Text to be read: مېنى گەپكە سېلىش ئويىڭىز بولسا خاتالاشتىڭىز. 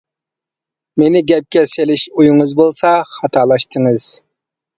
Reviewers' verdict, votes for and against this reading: accepted, 2, 0